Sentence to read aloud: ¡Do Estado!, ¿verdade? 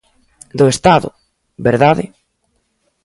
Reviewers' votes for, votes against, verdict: 2, 0, accepted